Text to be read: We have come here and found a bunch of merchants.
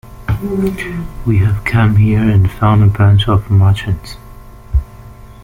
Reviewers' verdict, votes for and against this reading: accepted, 2, 1